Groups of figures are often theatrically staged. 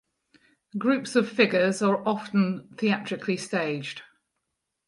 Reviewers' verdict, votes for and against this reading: accepted, 4, 0